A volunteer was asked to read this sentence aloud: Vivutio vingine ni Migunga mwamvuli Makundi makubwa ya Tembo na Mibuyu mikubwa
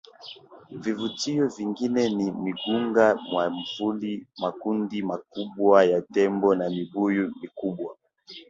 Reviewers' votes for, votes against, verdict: 0, 2, rejected